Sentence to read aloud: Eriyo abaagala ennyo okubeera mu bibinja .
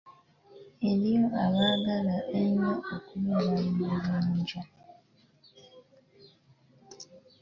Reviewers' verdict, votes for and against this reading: rejected, 1, 2